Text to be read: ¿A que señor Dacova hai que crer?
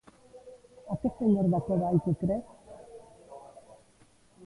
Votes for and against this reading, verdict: 0, 2, rejected